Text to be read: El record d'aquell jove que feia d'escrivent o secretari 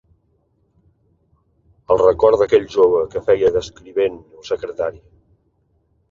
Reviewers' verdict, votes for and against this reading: accepted, 3, 0